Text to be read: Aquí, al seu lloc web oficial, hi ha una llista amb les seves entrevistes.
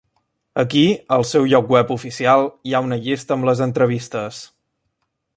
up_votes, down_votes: 0, 2